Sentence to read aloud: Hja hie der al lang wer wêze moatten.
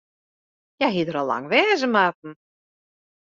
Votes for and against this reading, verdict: 0, 2, rejected